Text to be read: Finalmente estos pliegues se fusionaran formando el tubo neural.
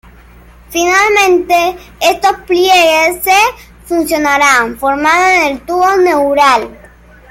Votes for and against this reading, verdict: 1, 2, rejected